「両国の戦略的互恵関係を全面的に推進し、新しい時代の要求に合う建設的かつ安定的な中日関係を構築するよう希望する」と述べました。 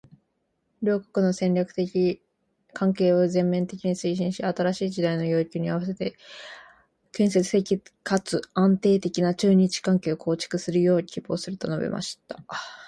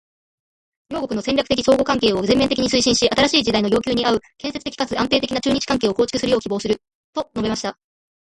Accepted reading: second